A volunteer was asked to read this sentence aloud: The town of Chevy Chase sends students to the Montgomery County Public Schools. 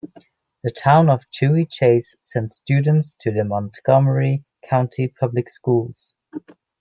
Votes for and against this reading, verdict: 2, 0, accepted